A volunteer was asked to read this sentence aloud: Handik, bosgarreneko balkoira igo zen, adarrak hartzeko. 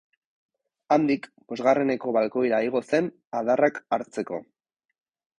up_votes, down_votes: 2, 2